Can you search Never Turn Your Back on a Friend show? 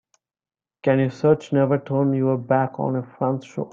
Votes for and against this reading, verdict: 2, 5, rejected